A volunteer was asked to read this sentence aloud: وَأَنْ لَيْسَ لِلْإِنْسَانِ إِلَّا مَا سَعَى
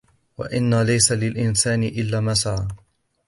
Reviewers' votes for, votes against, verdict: 2, 0, accepted